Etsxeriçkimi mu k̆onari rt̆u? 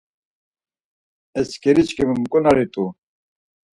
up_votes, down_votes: 4, 0